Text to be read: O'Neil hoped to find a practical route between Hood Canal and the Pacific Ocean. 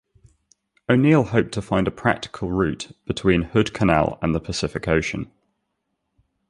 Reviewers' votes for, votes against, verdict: 2, 0, accepted